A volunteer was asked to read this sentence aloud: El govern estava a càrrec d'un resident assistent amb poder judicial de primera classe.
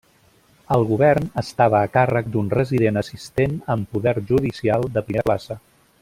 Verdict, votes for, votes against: rejected, 1, 2